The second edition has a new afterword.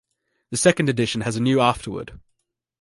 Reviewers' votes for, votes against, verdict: 2, 0, accepted